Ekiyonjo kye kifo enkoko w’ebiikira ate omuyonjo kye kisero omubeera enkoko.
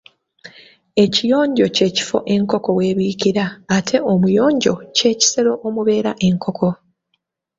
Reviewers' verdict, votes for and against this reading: accepted, 2, 0